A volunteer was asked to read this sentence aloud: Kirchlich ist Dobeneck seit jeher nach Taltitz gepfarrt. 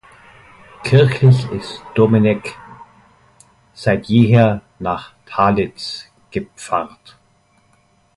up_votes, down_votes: 0, 2